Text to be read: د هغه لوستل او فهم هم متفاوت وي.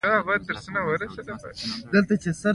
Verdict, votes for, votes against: rejected, 0, 2